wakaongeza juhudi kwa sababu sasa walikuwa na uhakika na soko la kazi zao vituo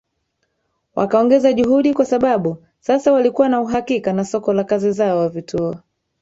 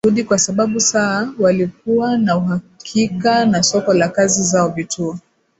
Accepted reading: first